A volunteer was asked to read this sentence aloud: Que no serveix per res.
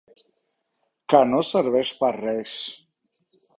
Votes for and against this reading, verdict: 3, 0, accepted